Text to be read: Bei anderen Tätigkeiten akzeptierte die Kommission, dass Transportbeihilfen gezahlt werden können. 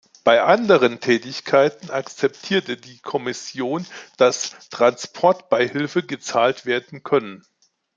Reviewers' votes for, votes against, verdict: 1, 2, rejected